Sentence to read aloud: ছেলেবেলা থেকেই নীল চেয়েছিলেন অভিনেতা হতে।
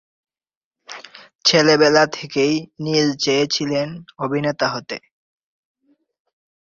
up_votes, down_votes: 2, 2